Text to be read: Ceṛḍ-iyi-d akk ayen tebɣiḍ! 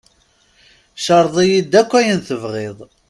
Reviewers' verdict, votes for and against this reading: accepted, 2, 0